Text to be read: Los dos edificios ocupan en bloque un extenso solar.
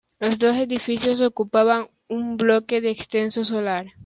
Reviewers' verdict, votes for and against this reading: accepted, 2, 1